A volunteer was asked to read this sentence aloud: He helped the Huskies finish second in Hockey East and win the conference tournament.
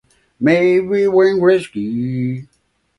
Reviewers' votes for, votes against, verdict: 0, 2, rejected